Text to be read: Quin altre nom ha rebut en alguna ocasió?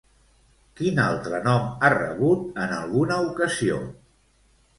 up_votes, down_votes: 1, 2